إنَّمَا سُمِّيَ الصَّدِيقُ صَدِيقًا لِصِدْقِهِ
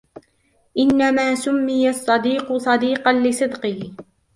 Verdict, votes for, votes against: rejected, 1, 2